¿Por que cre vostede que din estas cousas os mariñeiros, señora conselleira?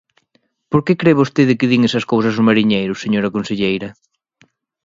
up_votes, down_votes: 1, 2